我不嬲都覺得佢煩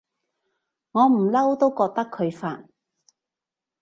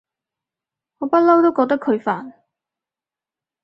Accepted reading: second